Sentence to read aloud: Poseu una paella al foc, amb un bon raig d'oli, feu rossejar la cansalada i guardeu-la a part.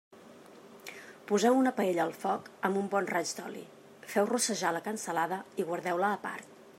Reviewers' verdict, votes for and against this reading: accepted, 2, 0